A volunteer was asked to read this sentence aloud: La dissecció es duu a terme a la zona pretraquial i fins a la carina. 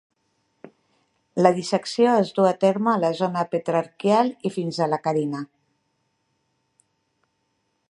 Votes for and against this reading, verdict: 1, 2, rejected